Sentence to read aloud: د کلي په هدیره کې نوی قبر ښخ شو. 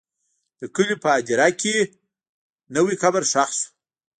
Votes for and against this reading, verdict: 2, 0, accepted